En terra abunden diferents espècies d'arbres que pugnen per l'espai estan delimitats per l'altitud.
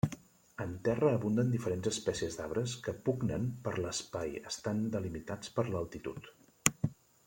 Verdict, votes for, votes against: accepted, 2, 1